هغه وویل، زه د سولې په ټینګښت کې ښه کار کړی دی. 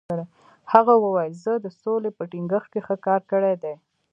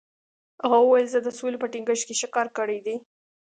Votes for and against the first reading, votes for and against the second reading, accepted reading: 0, 2, 2, 1, second